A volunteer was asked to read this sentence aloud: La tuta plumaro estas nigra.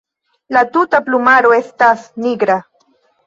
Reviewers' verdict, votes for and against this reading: rejected, 1, 2